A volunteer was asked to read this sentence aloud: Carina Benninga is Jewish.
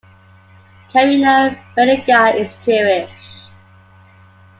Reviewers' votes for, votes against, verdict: 1, 2, rejected